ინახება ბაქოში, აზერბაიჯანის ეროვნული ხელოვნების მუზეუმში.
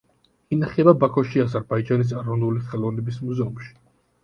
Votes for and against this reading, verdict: 3, 0, accepted